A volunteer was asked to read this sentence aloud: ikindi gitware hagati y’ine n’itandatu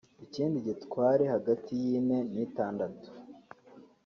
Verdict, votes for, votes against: accepted, 4, 0